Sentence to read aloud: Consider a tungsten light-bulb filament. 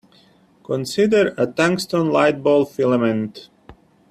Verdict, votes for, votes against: accepted, 2, 0